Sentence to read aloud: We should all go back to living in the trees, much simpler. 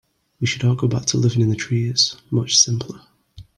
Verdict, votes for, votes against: accepted, 2, 1